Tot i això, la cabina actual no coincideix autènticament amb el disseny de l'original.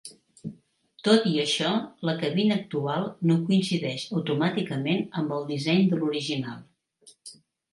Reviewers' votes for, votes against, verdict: 1, 2, rejected